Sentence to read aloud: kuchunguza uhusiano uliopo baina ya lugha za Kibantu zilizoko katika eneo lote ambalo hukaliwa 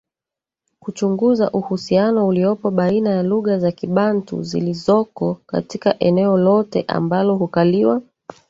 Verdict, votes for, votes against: rejected, 1, 2